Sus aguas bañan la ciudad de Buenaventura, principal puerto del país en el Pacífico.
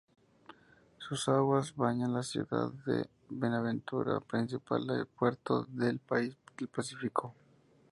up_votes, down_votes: 0, 2